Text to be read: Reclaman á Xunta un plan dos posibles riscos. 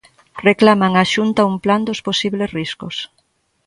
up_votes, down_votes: 2, 0